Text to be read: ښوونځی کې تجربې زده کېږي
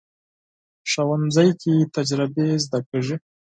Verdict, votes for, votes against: rejected, 0, 4